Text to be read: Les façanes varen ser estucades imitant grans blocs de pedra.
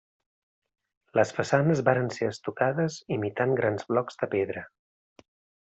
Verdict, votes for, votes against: accepted, 2, 0